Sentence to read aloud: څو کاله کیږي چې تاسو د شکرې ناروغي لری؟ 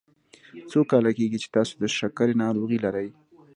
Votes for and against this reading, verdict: 2, 0, accepted